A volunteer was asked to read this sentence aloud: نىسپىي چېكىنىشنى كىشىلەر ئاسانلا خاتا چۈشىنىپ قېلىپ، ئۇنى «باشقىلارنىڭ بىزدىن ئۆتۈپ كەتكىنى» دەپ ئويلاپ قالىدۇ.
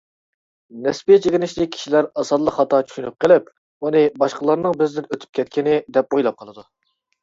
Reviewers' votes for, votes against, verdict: 2, 0, accepted